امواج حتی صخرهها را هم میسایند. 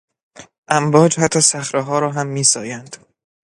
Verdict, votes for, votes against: accepted, 2, 0